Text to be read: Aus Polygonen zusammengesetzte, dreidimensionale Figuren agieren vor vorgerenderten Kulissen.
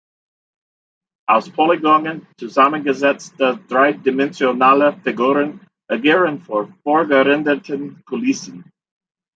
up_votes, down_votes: 1, 2